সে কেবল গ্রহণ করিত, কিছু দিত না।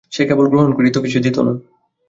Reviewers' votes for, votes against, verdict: 2, 0, accepted